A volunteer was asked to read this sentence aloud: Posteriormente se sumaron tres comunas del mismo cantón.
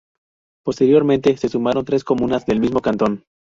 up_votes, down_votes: 2, 2